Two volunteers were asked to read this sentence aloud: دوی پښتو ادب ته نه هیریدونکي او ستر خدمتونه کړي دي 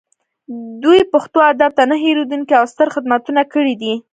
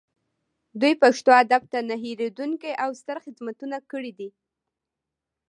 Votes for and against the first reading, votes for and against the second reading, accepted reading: 1, 2, 2, 0, second